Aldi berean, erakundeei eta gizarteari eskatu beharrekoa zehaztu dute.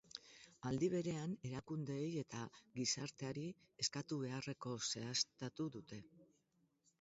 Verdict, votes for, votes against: rejected, 0, 2